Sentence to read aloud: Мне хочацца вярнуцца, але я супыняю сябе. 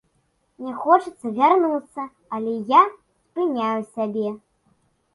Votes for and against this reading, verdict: 0, 2, rejected